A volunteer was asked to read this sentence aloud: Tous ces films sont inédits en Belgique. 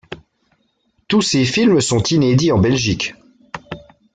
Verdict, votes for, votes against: accepted, 2, 1